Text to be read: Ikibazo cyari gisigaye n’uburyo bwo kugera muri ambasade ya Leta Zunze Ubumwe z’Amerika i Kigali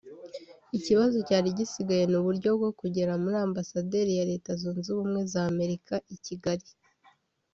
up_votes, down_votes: 0, 2